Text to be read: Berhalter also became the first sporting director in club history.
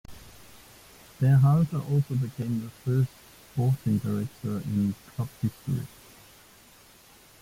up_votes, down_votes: 0, 2